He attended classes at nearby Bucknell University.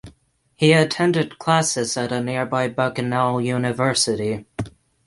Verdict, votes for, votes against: rejected, 0, 6